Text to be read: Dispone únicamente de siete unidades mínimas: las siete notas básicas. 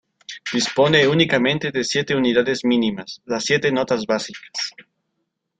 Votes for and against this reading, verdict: 0, 2, rejected